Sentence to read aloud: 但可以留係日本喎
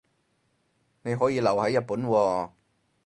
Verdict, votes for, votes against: rejected, 0, 4